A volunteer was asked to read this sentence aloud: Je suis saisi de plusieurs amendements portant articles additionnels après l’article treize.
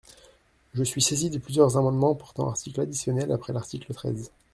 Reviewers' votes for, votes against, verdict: 2, 0, accepted